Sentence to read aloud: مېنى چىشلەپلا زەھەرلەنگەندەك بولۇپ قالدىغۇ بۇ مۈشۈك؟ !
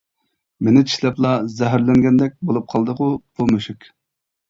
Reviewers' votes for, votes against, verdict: 2, 0, accepted